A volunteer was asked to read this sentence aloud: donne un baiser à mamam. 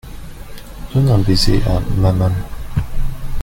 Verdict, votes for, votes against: accepted, 2, 0